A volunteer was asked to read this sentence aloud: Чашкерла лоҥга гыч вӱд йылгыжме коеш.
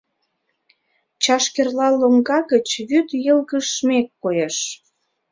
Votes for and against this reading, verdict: 2, 1, accepted